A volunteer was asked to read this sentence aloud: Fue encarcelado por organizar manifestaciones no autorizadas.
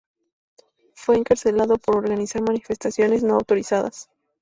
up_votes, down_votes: 2, 0